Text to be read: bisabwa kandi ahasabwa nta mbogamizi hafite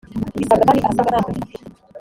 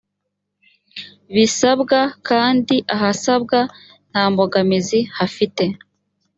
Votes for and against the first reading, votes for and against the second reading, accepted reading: 0, 2, 2, 0, second